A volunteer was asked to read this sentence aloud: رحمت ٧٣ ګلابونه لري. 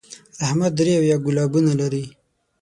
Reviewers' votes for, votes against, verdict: 0, 2, rejected